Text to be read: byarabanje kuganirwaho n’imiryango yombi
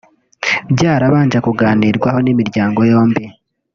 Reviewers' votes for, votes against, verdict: 2, 0, accepted